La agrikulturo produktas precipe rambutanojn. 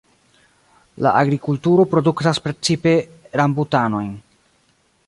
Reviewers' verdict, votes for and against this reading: accepted, 2, 0